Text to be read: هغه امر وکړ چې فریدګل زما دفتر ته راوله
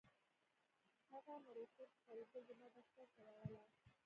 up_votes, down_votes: 0, 2